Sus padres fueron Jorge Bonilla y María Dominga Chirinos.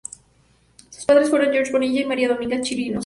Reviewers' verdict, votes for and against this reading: rejected, 0, 2